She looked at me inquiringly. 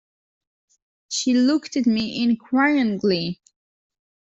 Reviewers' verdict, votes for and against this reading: accepted, 2, 1